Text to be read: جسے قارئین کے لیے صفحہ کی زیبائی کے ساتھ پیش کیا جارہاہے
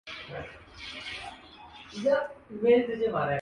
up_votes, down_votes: 1, 2